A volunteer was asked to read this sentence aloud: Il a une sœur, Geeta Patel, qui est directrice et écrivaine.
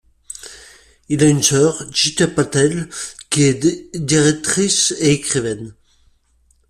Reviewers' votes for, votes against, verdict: 0, 2, rejected